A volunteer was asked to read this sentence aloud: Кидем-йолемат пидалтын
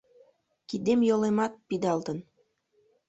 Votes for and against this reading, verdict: 2, 0, accepted